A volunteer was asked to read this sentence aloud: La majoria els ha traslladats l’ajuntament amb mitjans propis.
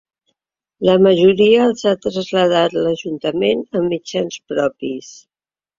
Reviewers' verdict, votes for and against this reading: rejected, 0, 2